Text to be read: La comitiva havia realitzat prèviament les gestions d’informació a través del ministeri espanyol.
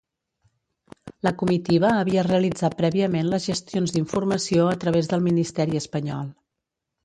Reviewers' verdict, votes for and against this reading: rejected, 1, 2